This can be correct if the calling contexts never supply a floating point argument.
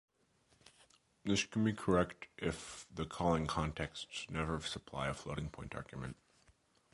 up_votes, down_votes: 2, 0